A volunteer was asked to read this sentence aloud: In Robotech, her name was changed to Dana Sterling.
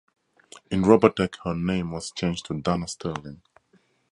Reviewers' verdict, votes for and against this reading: rejected, 2, 2